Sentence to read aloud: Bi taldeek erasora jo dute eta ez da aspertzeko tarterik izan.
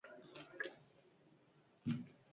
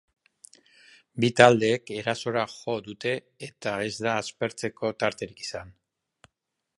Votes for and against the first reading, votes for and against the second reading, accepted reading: 0, 4, 2, 0, second